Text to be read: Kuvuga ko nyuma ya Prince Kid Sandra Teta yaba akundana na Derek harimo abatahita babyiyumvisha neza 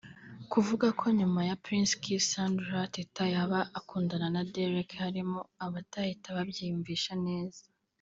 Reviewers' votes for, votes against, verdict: 1, 2, rejected